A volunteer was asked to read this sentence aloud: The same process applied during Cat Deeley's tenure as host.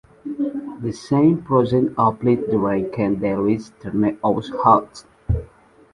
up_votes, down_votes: 1, 2